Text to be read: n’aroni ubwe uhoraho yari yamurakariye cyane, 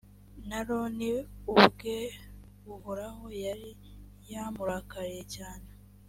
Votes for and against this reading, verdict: 3, 0, accepted